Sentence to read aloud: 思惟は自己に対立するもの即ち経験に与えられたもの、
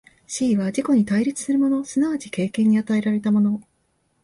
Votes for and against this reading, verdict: 5, 0, accepted